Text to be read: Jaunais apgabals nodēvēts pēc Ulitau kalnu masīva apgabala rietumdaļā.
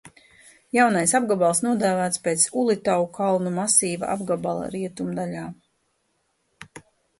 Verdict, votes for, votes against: accepted, 2, 0